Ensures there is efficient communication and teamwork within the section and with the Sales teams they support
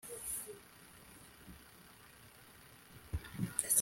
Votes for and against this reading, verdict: 0, 2, rejected